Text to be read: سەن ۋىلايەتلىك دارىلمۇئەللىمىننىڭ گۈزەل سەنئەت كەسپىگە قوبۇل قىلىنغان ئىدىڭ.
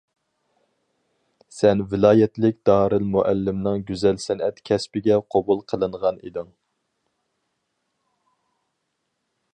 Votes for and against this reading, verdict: 2, 2, rejected